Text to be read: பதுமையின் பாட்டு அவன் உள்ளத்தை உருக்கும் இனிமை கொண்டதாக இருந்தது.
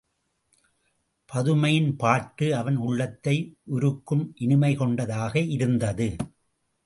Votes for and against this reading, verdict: 2, 0, accepted